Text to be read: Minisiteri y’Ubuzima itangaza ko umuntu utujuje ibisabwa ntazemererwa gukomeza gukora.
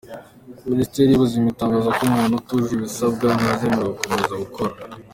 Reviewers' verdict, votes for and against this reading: accepted, 2, 0